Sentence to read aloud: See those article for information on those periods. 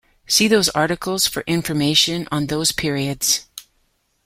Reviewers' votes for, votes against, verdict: 0, 2, rejected